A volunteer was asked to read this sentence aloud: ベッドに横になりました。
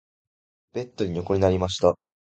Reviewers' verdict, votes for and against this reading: accepted, 2, 0